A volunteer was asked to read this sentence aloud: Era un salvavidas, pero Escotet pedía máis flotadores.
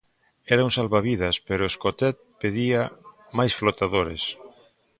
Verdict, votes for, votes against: accepted, 2, 0